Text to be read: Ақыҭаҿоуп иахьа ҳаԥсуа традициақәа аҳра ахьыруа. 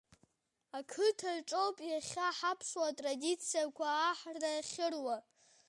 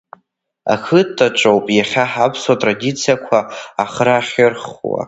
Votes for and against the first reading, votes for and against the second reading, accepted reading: 2, 0, 1, 2, first